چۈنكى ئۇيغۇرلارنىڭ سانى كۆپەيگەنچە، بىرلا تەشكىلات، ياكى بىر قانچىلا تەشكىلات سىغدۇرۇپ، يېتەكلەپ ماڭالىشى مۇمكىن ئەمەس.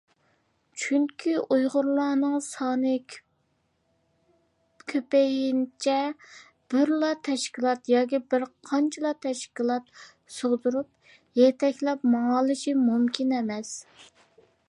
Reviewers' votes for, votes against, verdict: 0, 2, rejected